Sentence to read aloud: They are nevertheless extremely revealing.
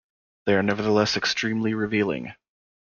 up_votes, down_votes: 2, 0